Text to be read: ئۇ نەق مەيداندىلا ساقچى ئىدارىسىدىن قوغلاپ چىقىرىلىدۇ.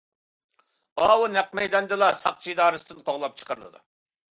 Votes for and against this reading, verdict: 0, 2, rejected